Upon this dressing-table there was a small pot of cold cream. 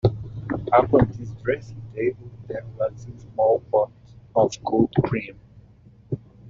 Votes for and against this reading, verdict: 1, 2, rejected